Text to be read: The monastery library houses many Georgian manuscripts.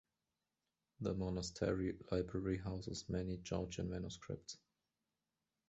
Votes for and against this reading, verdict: 2, 0, accepted